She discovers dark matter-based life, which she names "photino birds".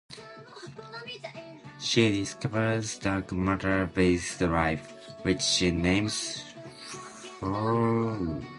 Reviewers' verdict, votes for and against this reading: rejected, 0, 2